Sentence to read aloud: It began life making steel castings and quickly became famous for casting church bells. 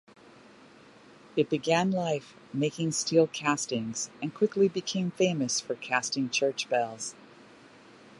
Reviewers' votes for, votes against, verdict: 2, 1, accepted